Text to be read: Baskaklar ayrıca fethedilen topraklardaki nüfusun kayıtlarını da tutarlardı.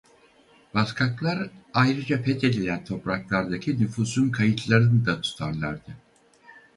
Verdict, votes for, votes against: rejected, 2, 2